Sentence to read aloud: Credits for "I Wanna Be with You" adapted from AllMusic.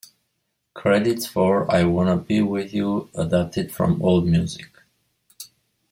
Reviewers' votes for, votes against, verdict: 2, 0, accepted